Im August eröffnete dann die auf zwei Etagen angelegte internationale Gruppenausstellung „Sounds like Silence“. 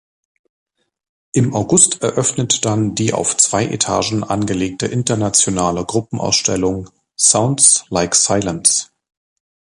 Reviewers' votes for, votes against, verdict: 2, 1, accepted